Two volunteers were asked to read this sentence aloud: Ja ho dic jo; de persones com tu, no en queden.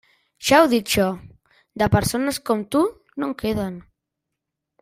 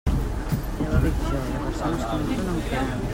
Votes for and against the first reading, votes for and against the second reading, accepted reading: 3, 0, 1, 2, first